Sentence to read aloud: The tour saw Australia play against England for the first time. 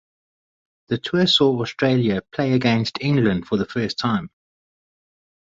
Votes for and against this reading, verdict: 6, 0, accepted